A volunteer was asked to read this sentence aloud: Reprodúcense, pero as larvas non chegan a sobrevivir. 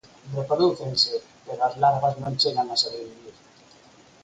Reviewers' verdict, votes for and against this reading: accepted, 4, 0